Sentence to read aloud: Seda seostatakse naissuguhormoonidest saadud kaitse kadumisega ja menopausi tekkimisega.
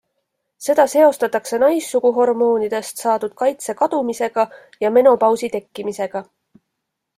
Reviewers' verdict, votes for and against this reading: accepted, 2, 0